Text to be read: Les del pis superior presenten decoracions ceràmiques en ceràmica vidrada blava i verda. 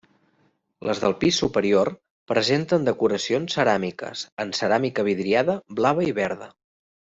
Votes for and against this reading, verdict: 1, 2, rejected